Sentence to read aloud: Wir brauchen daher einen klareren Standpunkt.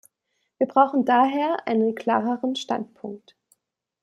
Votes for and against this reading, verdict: 2, 0, accepted